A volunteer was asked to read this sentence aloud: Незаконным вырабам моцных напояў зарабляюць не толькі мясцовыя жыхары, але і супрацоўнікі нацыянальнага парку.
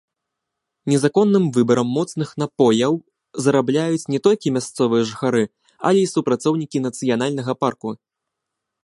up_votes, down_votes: 1, 2